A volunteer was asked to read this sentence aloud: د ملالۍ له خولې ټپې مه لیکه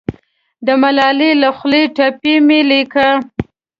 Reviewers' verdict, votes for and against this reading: rejected, 0, 2